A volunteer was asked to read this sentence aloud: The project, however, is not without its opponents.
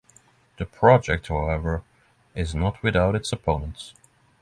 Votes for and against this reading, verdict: 6, 0, accepted